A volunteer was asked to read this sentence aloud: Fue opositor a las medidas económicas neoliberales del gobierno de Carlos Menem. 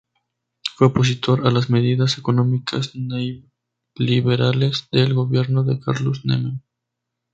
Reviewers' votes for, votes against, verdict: 0, 2, rejected